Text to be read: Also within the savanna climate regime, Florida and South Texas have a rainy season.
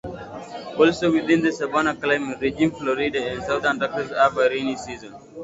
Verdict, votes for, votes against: rejected, 0, 2